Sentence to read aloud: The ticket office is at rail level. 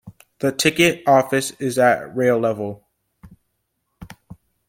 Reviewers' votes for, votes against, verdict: 2, 0, accepted